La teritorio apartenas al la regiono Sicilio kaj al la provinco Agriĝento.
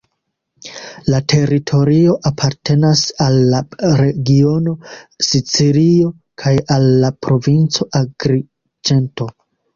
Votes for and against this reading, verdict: 2, 0, accepted